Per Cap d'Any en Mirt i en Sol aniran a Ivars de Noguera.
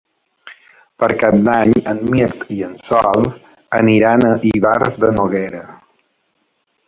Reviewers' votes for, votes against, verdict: 4, 1, accepted